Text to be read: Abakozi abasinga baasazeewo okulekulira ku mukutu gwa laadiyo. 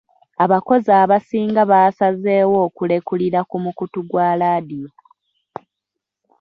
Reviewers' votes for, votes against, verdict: 2, 1, accepted